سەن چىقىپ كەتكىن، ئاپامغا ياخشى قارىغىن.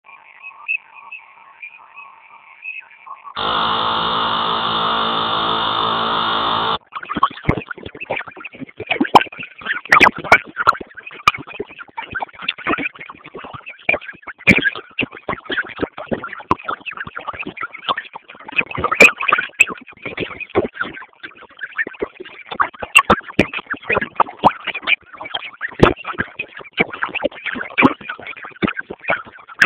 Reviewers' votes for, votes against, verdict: 0, 2, rejected